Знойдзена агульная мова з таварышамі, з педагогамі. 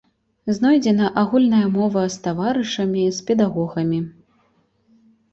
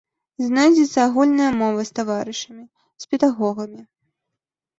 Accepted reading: first